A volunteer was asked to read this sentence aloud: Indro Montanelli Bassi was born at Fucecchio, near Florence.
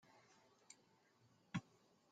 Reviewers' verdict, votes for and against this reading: rejected, 0, 2